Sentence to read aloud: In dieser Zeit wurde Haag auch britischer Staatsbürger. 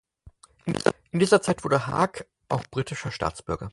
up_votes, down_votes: 2, 4